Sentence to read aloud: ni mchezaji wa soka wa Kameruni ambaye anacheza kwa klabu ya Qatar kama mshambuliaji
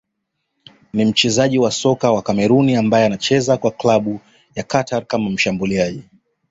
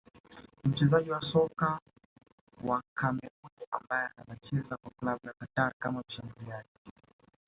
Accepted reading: first